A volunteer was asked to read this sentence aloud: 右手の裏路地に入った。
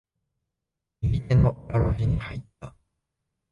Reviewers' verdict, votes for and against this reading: rejected, 0, 2